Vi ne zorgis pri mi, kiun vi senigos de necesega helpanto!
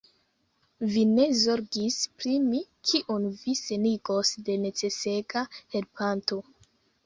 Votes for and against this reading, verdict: 3, 2, accepted